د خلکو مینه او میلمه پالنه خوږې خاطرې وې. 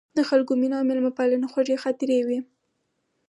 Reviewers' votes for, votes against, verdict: 4, 2, accepted